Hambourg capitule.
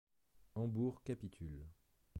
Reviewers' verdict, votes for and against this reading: accepted, 3, 0